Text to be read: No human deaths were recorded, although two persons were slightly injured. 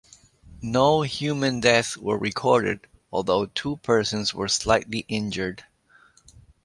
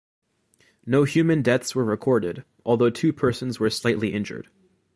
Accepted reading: first